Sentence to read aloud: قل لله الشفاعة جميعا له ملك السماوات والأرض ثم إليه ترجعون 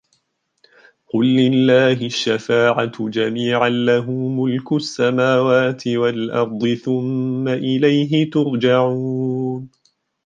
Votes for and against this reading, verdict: 1, 2, rejected